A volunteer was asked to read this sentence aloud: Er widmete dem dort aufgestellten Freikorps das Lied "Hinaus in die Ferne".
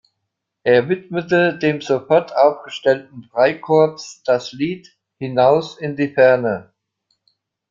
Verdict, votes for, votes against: rejected, 0, 2